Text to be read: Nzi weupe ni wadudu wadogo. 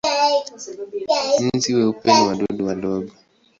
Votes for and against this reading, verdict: 1, 2, rejected